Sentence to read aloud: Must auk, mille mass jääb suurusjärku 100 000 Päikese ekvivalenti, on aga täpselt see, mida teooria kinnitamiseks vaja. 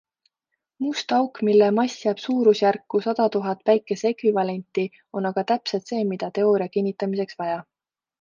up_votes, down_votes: 0, 2